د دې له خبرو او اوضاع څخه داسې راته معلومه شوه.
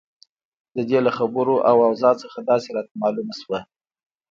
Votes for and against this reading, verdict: 1, 2, rejected